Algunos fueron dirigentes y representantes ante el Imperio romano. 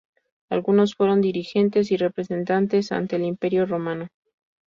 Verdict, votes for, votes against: rejected, 0, 2